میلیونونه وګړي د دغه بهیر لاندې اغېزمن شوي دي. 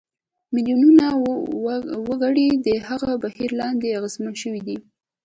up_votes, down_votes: 1, 2